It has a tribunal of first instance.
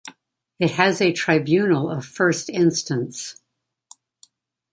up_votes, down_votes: 1, 2